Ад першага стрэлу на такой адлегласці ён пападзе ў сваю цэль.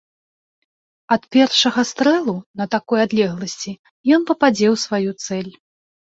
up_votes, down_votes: 2, 0